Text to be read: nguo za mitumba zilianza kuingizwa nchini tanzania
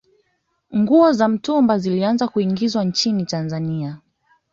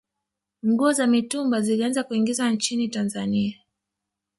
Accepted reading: first